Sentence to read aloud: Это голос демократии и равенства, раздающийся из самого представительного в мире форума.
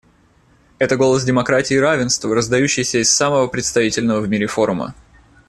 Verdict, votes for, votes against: accepted, 2, 0